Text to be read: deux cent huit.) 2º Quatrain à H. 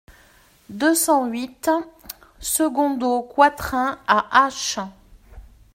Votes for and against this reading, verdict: 0, 2, rejected